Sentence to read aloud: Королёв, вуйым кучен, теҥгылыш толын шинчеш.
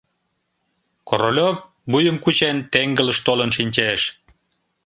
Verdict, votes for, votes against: accepted, 3, 0